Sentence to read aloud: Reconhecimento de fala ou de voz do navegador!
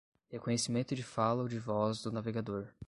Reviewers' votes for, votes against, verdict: 10, 0, accepted